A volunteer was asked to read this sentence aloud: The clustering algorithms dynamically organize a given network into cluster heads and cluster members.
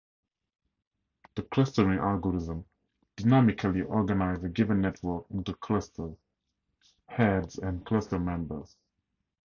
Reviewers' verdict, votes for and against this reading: rejected, 2, 2